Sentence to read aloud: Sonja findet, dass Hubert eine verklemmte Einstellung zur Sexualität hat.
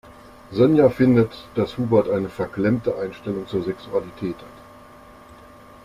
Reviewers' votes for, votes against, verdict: 3, 0, accepted